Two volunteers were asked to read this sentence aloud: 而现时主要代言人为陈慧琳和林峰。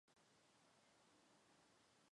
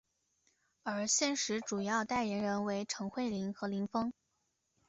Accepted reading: second